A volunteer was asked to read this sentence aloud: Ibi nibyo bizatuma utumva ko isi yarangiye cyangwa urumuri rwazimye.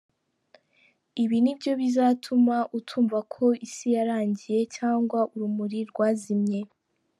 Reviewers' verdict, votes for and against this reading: accepted, 2, 0